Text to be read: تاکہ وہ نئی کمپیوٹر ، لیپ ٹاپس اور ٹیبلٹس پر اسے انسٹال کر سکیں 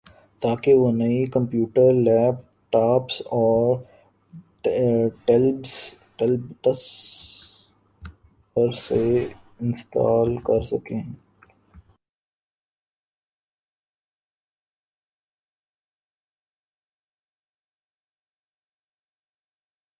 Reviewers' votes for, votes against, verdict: 1, 4, rejected